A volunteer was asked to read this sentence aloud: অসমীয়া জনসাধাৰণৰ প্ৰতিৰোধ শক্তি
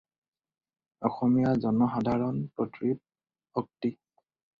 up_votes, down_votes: 2, 4